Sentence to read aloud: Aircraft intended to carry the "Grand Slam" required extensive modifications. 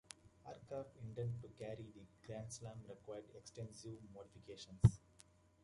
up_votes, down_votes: 2, 1